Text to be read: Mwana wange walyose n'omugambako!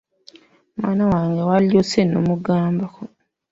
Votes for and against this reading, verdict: 1, 2, rejected